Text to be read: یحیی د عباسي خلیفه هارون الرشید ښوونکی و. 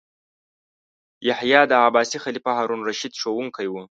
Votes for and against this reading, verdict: 2, 0, accepted